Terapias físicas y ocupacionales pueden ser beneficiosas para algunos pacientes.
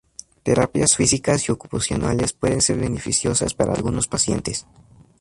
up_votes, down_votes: 2, 0